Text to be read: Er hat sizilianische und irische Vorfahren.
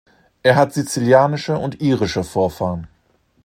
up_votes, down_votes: 2, 0